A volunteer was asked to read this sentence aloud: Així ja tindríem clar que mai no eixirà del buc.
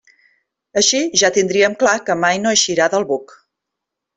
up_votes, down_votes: 3, 0